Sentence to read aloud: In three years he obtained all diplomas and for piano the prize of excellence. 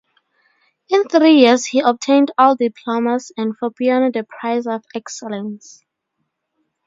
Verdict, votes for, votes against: accepted, 2, 0